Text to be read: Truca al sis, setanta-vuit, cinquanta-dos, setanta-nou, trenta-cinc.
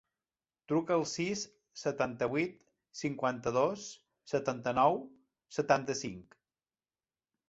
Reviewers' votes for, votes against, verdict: 0, 2, rejected